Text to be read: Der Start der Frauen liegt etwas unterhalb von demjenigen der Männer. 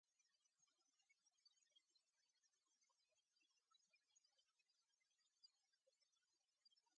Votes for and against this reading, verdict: 0, 2, rejected